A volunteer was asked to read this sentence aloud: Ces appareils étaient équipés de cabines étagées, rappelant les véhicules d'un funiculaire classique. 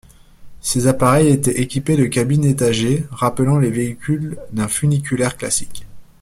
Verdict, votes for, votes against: accepted, 2, 0